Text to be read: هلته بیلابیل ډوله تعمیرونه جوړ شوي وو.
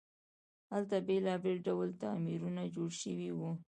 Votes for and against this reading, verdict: 2, 0, accepted